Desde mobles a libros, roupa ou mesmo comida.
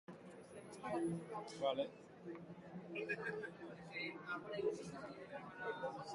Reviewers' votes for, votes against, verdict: 0, 2, rejected